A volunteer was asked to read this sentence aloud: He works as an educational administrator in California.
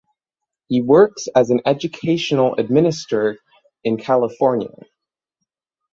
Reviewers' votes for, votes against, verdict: 0, 3, rejected